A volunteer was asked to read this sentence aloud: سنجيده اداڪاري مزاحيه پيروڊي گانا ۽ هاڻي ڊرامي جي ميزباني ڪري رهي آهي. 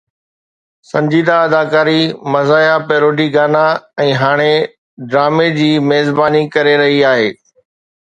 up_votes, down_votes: 2, 0